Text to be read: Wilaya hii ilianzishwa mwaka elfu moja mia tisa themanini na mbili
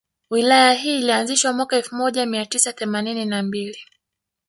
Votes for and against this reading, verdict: 2, 0, accepted